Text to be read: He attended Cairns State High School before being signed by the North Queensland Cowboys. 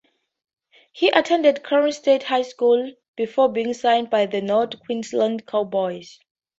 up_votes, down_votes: 2, 0